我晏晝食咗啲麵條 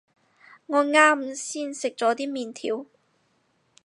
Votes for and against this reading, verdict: 0, 4, rejected